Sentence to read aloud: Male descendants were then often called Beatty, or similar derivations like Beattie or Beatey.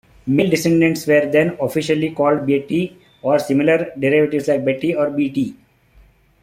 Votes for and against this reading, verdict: 1, 2, rejected